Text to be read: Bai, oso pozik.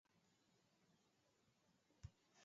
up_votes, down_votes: 0, 2